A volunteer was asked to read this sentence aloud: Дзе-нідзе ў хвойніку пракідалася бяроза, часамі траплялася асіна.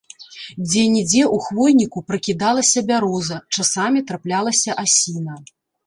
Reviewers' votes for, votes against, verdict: 1, 2, rejected